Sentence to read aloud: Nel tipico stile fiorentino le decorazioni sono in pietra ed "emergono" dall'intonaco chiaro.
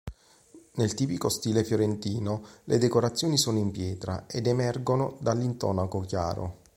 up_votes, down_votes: 2, 0